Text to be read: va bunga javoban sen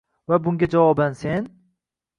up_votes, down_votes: 1, 2